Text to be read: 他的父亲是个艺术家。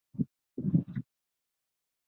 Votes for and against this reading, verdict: 2, 4, rejected